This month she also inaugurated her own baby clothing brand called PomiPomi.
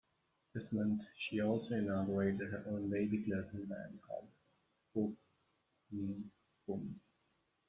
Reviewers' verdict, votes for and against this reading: rejected, 0, 2